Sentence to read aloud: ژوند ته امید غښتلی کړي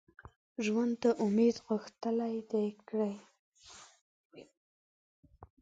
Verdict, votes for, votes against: accepted, 2, 0